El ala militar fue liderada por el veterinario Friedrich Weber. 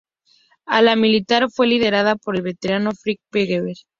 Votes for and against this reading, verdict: 0, 2, rejected